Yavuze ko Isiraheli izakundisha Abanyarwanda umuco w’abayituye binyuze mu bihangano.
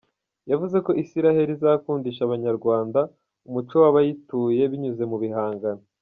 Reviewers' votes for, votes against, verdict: 1, 2, rejected